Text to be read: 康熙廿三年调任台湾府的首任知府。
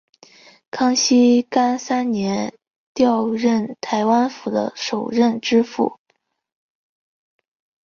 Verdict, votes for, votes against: rejected, 1, 3